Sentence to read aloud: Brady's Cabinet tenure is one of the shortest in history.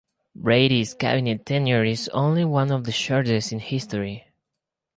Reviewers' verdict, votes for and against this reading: rejected, 2, 2